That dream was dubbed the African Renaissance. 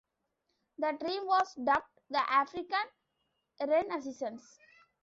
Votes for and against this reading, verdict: 1, 2, rejected